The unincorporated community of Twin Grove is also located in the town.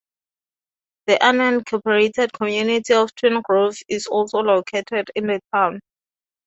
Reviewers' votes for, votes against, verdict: 4, 0, accepted